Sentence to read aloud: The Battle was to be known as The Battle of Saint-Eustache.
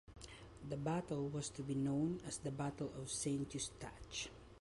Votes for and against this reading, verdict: 2, 0, accepted